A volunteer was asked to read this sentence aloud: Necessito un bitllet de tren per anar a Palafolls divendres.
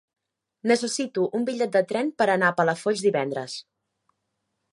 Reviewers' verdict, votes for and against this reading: accepted, 3, 0